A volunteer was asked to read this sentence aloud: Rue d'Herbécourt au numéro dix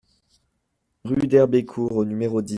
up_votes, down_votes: 0, 2